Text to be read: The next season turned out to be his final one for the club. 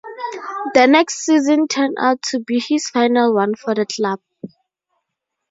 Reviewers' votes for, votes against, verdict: 0, 2, rejected